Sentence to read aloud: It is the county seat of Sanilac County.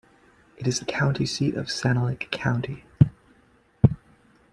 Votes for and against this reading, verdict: 2, 0, accepted